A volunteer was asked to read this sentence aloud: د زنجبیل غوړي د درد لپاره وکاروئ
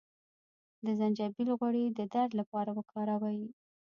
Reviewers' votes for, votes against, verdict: 0, 2, rejected